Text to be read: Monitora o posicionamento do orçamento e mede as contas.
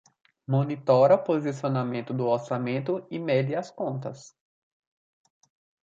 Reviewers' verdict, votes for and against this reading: accepted, 2, 1